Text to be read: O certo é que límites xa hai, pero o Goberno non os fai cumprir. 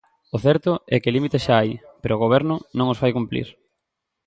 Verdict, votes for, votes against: accepted, 2, 0